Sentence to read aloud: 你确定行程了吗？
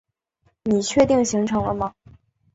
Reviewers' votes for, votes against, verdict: 3, 0, accepted